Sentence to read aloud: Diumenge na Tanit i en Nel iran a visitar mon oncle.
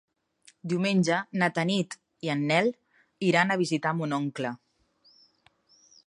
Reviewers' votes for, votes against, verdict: 3, 0, accepted